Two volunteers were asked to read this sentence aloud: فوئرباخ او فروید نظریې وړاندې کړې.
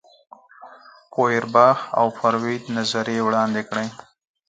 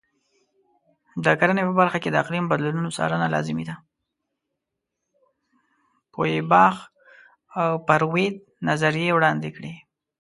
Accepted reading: first